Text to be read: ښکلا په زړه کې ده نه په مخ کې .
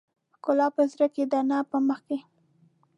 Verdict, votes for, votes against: accepted, 2, 0